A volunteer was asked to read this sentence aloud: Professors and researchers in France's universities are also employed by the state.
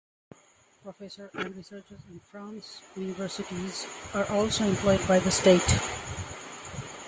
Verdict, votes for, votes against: rejected, 1, 2